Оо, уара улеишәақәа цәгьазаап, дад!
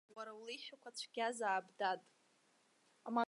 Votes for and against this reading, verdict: 0, 2, rejected